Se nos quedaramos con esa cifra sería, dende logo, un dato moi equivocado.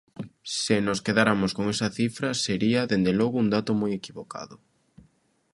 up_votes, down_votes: 0, 2